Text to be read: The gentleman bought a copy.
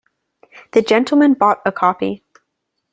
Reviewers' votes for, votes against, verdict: 2, 0, accepted